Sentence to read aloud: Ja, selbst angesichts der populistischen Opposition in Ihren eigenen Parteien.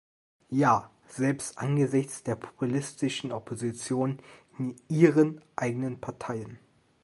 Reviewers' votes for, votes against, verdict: 2, 0, accepted